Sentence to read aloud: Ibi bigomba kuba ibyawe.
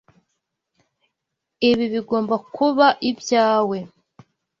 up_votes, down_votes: 3, 0